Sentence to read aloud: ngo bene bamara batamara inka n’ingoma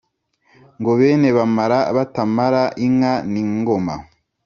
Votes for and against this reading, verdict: 2, 0, accepted